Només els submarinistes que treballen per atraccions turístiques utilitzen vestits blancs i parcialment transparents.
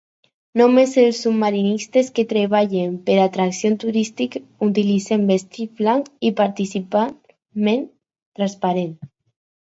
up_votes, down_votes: 0, 4